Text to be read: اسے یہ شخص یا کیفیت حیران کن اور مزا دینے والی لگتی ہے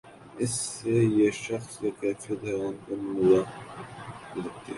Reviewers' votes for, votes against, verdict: 1, 2, rejected